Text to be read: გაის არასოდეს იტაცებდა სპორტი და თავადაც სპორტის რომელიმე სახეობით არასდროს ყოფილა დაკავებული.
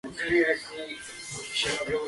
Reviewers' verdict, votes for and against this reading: rejected, 0, 2